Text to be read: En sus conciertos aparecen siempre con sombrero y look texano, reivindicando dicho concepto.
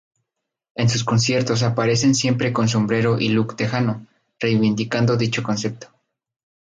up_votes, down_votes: 2, 2